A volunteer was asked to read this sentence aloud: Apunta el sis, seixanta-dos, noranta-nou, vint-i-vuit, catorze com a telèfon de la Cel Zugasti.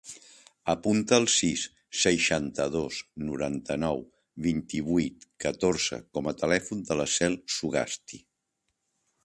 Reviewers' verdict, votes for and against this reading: accepted, 2, 0